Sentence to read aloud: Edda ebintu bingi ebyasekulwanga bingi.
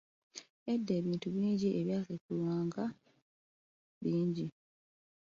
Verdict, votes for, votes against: rejected, 0, 2